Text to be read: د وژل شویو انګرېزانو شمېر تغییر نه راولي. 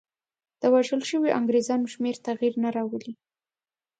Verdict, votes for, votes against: accepted, 2, 0